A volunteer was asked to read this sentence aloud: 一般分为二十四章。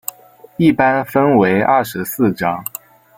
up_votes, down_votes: 2, 0